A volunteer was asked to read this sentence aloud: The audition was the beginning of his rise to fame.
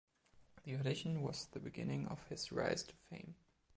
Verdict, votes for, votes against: accepted, 2, 0